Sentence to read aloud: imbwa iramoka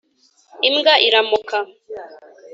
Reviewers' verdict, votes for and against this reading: accepted, 3, 0